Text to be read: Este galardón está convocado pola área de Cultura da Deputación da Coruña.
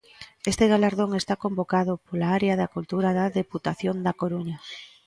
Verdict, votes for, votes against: rejected, 0, 2